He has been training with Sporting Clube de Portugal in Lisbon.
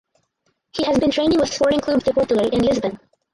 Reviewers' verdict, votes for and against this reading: rejected, 0, 4